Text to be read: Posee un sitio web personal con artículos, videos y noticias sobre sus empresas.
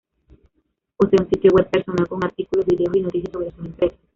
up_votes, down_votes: 1, 2